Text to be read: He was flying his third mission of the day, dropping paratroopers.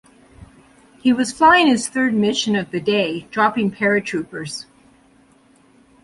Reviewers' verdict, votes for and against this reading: accepted, 2, 0